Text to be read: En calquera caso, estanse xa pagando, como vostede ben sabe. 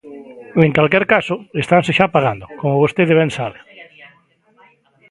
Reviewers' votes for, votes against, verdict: 0, 2, rejected